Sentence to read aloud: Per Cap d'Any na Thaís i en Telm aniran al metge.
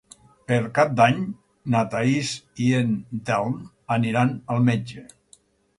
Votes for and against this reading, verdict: 4, 0, accepted